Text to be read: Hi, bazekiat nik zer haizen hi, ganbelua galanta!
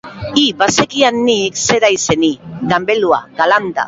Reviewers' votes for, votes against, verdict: 0, 2, rejected